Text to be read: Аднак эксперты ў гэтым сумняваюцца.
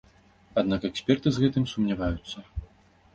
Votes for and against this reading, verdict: 0, 2, rejected